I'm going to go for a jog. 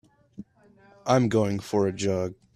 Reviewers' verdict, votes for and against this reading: rejected, 0, 2